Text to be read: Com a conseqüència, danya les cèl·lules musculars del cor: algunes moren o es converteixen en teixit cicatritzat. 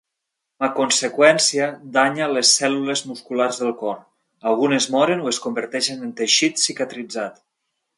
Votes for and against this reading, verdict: 1, 2, rejected